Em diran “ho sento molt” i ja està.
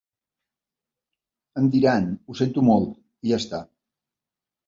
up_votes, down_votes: 2, 0